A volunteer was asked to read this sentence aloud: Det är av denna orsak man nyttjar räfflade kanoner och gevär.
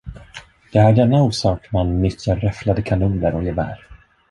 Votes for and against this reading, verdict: 1, 2, rejected